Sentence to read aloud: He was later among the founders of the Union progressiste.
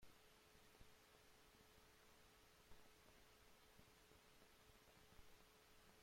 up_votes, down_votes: 0, 2